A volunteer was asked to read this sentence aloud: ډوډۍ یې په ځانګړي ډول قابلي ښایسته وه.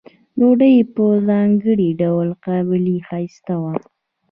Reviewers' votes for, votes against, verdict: 1, 2, rejected